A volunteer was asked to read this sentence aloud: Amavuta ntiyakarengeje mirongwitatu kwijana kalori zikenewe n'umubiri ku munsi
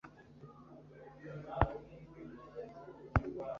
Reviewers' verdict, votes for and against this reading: rejected, 1, 2